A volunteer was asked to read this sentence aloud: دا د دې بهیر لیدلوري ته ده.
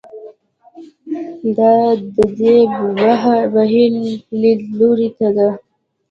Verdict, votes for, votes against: rejected, 0, 2